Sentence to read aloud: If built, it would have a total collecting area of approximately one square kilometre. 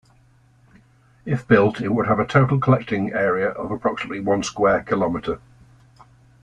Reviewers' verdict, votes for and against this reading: accepted, 2, 0